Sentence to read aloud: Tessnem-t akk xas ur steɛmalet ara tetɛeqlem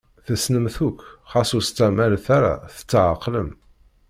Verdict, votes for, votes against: rejected, 1, 2